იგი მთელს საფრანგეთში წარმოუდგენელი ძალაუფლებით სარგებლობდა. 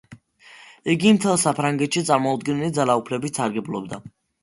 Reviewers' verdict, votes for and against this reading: accepted, 2, 0